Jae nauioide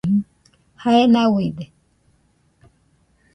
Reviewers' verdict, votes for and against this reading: rejected, 1, 2